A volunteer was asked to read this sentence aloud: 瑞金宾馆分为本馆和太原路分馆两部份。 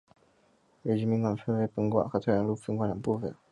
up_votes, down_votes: 1, 2